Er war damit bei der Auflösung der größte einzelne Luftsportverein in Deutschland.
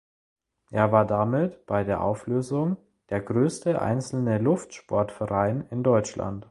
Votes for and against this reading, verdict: 2, 0, accepted